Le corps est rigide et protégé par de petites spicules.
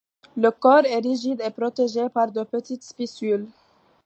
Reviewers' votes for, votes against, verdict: 3, 2, accepted